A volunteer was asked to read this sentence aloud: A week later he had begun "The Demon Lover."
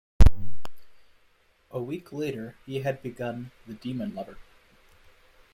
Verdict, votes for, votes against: accepted, 2, 0